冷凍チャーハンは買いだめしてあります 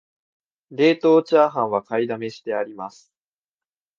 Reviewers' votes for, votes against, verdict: 2, 1, accepted